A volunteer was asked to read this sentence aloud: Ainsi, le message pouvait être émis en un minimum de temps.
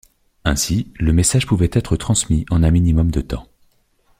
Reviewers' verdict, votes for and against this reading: rejected, 0, 2